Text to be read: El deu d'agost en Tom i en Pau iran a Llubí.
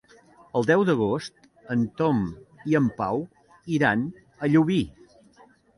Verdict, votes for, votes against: accepted, 2, 0